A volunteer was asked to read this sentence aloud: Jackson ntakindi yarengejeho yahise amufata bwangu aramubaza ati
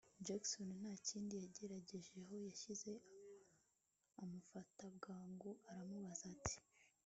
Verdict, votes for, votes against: rejected, 1, 2